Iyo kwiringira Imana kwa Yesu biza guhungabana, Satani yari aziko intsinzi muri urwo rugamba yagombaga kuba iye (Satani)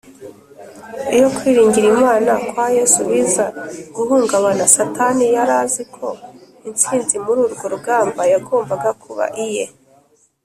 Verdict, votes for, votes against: rejected, 1, 3